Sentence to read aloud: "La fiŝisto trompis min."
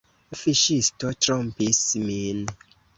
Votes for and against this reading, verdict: 0, 2, rejected